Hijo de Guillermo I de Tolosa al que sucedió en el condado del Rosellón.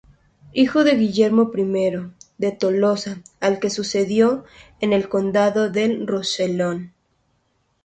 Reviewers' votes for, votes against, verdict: 2, 0, accepted